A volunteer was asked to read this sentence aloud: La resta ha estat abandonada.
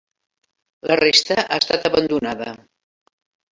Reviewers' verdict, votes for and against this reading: accepted, 3, 0